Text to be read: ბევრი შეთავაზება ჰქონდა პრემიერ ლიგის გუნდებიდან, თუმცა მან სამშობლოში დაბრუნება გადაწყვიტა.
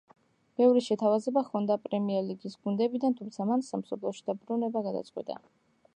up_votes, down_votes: 1, 2